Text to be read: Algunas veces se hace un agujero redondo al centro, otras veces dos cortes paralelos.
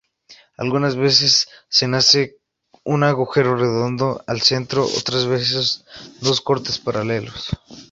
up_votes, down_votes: 0, 2